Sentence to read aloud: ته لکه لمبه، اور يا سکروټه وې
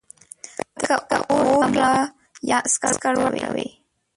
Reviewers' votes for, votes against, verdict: 0, 2, rejected